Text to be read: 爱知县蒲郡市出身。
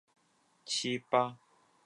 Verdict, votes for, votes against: rejected, 0, 3